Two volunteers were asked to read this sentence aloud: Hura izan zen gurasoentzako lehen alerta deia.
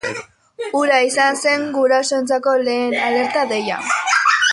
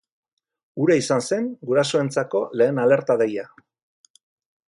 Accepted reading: second